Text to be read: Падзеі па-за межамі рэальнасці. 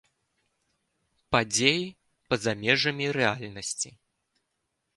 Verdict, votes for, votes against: accepted, 3, 0